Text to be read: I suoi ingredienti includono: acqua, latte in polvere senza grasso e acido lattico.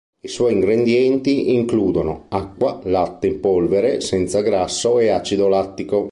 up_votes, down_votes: 1, 2